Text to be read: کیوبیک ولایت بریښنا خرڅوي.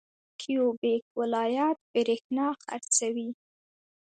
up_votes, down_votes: 0, 2